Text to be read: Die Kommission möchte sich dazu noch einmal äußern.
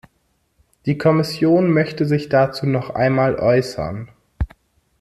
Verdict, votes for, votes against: accepted, 2, 0